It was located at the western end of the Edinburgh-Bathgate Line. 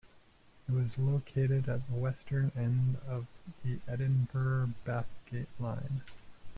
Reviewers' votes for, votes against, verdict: 1, 2, rejected